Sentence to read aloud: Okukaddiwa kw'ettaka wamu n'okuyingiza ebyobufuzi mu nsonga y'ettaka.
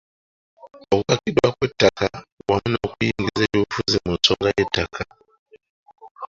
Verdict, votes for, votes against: rejected, 1, 2